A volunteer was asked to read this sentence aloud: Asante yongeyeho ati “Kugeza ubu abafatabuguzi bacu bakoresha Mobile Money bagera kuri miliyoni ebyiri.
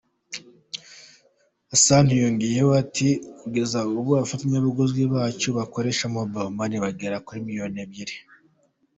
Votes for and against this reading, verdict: 1, 2, rejected